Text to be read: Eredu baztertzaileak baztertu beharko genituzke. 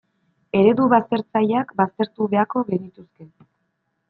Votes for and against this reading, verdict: 1, 2, rejected